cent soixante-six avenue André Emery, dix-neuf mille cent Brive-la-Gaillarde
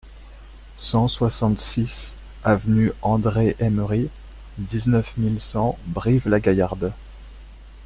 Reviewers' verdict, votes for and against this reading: accepted, 2, 0